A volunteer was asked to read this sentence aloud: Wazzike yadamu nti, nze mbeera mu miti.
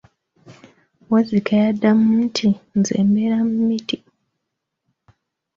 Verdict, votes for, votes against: accepted, 2, 1